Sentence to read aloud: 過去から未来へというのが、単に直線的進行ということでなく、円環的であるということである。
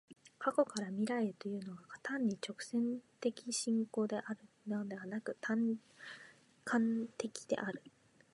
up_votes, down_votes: 0, 2